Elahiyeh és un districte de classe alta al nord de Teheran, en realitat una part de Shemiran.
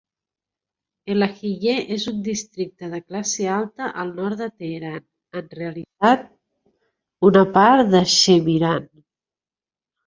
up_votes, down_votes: 0, 2